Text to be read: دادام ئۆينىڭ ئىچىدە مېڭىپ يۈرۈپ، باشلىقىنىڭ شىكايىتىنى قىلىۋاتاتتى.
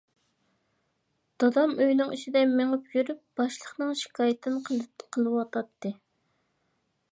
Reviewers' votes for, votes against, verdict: 1, 2, rejected